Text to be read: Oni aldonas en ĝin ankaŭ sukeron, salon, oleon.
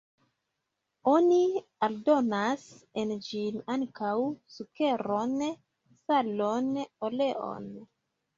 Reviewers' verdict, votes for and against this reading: accepted, 2, 1